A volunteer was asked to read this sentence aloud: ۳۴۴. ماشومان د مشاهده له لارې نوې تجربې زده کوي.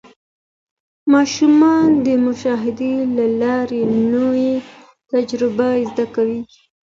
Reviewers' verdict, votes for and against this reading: rejected, 0, 2